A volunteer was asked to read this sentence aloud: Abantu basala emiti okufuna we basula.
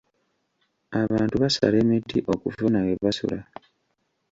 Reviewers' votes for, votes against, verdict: 2, 1, accepted